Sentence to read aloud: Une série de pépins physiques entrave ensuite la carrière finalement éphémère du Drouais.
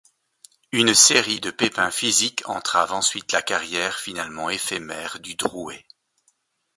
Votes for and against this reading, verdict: 2, 0, accepted